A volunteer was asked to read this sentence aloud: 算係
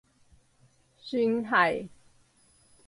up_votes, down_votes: 4, 0